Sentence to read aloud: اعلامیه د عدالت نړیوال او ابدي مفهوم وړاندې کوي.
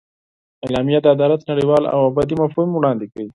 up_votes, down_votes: 0, 4